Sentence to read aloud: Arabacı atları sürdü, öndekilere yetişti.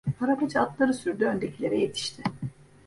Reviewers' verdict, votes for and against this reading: accepted, 2, 0